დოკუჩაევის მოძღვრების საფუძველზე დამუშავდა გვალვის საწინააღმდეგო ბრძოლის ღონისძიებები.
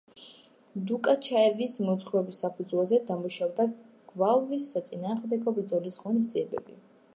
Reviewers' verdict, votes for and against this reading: rejected, 0, 2